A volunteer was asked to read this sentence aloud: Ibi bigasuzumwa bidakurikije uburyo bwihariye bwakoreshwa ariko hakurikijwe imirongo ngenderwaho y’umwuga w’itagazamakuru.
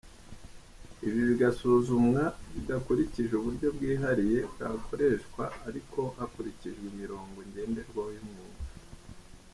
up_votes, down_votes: 1, 2